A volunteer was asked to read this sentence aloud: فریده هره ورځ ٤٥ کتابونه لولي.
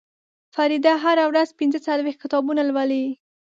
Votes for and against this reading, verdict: 0, 2, rejected